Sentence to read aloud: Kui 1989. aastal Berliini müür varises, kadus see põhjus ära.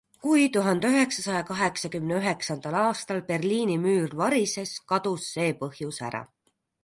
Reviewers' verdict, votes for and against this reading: rejected, 0, 2